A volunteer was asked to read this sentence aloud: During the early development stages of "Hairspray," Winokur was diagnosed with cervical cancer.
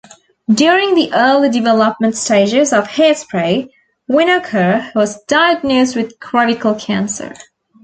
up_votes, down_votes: 1, 2